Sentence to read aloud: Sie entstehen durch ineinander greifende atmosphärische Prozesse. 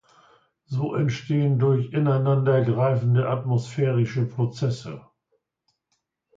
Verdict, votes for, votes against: rejected, 0, 2